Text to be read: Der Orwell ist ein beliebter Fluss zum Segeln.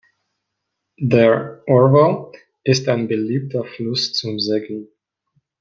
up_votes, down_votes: 2, 0